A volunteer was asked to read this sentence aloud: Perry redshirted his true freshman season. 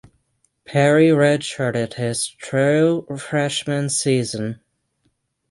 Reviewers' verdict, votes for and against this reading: accepted, 6, 0